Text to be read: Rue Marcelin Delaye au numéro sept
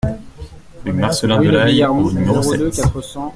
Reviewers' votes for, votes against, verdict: 0, 2, rejected